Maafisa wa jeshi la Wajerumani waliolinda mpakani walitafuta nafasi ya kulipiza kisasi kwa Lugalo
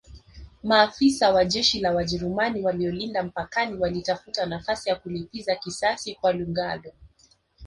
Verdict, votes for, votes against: rejected, 1, 2